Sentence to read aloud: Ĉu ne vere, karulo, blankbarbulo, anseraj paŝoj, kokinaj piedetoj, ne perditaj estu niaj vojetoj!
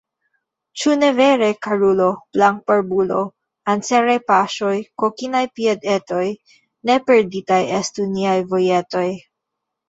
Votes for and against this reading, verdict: 1, 2, rejected